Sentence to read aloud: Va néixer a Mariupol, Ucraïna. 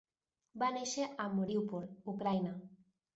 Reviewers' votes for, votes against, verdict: 1, 2, rejected